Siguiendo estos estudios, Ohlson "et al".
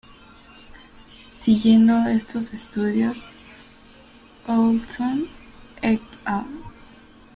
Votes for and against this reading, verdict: 2, 1, accepted